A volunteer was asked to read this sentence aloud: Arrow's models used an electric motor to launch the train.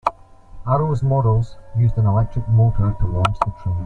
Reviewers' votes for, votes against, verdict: 2, 0, accepted